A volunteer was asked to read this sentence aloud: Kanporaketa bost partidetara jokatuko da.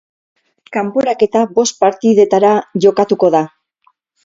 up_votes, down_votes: 8, 0